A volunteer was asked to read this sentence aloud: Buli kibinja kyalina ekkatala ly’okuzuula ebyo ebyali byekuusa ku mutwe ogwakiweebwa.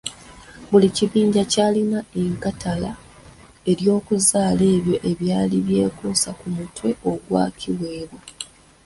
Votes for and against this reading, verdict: 0, 2, rejected